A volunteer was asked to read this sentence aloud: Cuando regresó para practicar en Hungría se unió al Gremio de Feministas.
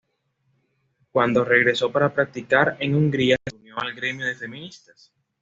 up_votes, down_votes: 2, 0